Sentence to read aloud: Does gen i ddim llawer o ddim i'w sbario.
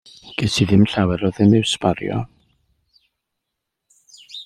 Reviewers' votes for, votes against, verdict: 1, 2, rejected